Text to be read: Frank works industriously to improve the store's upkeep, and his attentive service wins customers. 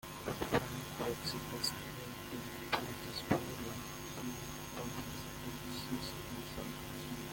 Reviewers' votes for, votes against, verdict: 0, 2, rejected